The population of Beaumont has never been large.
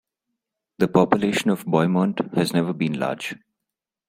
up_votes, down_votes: 1, 2